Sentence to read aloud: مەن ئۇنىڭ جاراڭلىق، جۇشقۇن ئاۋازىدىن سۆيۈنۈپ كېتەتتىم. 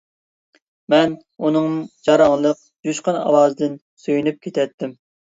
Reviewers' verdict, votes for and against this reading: accepted, 2, 0